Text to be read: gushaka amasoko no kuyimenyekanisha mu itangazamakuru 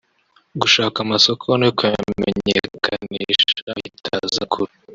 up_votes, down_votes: 1, 4